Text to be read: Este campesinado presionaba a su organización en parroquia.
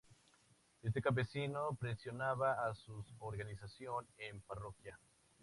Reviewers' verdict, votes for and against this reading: accepted, 6, 0